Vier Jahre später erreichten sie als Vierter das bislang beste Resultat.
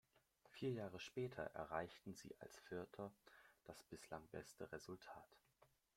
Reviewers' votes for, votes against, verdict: 2, 0, accepted